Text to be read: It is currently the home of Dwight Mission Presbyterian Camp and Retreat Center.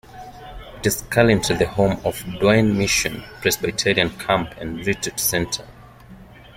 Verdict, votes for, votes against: rejected, 0, 2